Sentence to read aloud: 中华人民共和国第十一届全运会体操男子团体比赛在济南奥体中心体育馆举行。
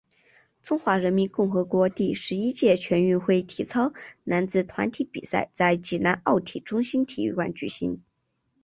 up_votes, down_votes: 2, 0